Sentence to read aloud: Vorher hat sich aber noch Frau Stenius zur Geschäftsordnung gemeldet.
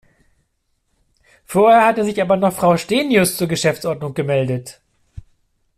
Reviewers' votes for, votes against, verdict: 2, 0, accepted